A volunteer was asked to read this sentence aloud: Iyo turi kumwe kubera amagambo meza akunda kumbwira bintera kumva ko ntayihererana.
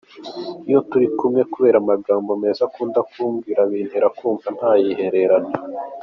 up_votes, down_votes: 3, 0